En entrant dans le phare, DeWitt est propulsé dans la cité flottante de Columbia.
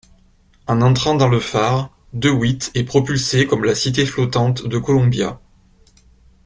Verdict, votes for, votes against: rejected, 1, 2